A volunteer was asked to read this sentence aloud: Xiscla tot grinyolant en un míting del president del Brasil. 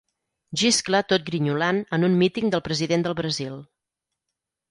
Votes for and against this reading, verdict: 4, 0, accepted